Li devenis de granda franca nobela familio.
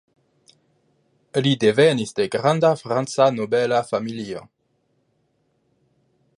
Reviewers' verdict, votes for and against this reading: accepted, 2, 0